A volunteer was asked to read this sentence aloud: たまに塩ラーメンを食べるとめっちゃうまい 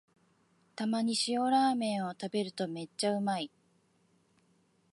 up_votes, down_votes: 3, 0